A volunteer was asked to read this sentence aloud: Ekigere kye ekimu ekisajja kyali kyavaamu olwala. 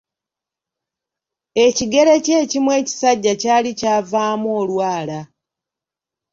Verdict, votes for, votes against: accepted, 2, 0